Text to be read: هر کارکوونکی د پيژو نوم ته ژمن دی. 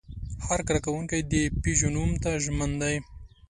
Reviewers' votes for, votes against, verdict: 3, 0, accepted